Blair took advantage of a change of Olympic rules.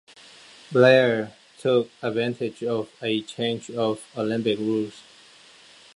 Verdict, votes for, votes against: accepted, 2, 0